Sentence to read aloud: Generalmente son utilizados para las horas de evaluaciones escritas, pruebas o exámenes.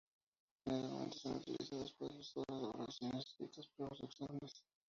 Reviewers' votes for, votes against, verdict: 0, 2, rejected